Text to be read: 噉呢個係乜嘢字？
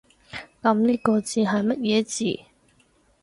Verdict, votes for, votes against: rejected, 2, 4